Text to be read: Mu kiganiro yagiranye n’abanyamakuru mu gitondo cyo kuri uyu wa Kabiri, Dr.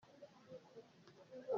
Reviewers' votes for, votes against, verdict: 0, 2, rejected